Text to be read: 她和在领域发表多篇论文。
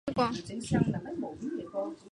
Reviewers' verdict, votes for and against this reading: rejected, 0, 2